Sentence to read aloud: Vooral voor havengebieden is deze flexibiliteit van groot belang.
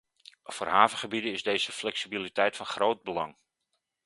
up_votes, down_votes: 0, 2